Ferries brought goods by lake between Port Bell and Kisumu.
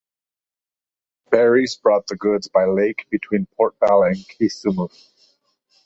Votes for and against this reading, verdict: 2, 0, accepted